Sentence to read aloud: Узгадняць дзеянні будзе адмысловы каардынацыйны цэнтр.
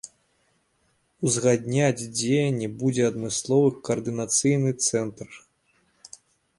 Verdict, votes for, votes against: accepted, 2, 0